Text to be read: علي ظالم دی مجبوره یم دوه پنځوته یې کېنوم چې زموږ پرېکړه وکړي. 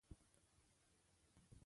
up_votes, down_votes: 0, 2